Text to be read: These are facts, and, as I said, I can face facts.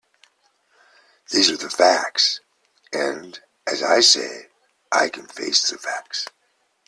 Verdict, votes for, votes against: accepted, 2, 0